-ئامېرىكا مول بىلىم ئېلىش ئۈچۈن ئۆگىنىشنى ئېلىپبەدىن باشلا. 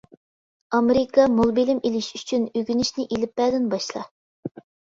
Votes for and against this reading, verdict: 2, 0, accepted